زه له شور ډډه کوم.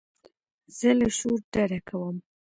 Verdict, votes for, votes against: accepted, 2, 0